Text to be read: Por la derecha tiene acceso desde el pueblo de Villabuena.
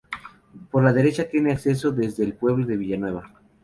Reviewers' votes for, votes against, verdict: 2, 2, rejected